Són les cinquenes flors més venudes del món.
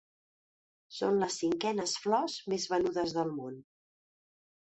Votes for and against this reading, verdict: 2, 0, accepted